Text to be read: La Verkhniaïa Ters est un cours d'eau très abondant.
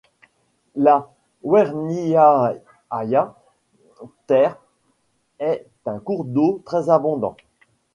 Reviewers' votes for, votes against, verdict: 1, 2, rejected